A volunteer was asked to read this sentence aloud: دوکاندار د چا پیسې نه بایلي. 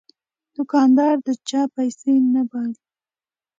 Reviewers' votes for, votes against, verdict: 2, 0, accepted